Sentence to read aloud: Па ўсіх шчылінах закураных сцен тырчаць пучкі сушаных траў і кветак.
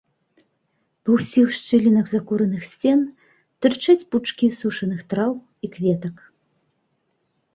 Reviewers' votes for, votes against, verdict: 1, 2, rejected